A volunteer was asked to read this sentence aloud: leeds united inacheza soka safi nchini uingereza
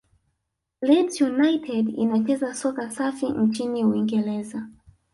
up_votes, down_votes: 2, 0